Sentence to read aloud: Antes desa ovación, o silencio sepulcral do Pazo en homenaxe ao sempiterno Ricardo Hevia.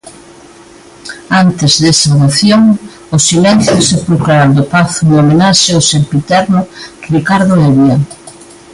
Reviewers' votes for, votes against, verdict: 2, 0, accepted